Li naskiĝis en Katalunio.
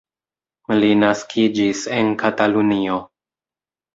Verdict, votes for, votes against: accepted, 2, 0